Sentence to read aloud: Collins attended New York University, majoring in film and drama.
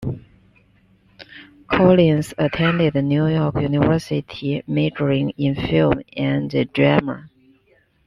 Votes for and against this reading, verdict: 1, 2, rejected